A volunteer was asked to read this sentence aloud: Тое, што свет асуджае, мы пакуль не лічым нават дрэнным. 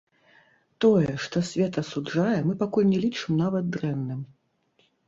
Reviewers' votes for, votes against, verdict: 1, 2, rejected